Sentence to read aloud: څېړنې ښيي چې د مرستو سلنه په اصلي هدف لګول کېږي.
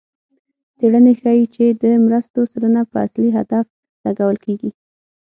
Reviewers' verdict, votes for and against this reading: accepted, 6, 0